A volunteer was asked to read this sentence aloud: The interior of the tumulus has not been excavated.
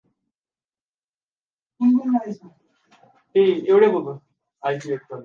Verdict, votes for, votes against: rejected, 1, 2